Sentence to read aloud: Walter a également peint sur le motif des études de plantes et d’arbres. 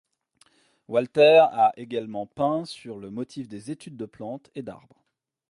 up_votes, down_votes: 2, 0